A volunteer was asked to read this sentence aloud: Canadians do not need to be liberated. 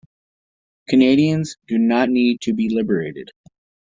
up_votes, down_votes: 2, 1